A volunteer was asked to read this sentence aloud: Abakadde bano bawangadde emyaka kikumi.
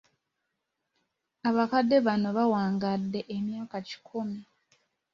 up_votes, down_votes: 2, 0